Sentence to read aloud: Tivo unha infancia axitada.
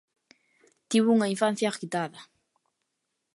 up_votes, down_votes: 0, 3